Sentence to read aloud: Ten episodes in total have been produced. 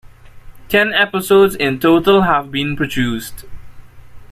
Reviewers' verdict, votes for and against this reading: accepted, 2, 1